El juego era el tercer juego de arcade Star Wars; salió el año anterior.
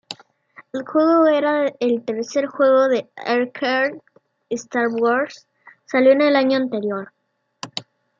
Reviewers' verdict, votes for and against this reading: rejected, 1, 2